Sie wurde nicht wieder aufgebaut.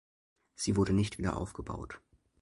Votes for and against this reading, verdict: 2, 0, accepted